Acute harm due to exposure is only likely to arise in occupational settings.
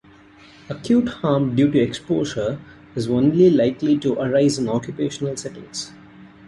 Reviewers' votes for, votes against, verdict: 2, 1, accepted